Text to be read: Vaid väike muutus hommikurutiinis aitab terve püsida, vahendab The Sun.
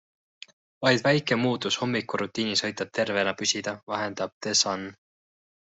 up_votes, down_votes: 2, 1